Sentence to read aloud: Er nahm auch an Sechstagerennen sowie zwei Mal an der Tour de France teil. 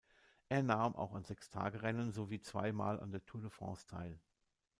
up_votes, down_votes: 2, 1